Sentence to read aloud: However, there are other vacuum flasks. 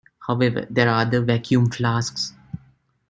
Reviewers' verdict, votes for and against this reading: rejected, 0, 2